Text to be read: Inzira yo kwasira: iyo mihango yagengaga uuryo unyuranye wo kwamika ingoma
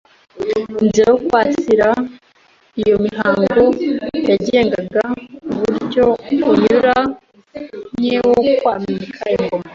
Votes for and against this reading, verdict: 2, 0, accepted